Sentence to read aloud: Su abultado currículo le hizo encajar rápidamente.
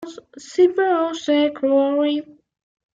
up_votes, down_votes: 0, 2